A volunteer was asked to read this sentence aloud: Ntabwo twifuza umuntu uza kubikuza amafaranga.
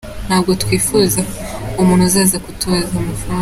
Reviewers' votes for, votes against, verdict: 0, 2, rejected